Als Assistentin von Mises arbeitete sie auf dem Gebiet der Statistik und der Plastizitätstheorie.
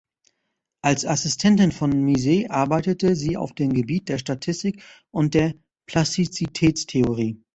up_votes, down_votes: 0, 2